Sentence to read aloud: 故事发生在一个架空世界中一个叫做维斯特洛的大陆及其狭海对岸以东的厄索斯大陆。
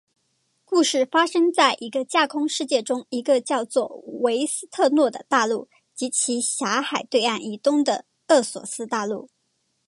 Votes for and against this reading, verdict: 2, 0, accepted